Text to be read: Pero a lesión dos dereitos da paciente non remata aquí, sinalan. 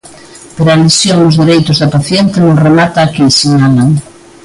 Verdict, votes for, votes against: accepted, 2, 0